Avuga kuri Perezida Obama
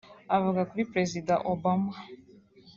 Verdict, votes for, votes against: accepted, 2, 1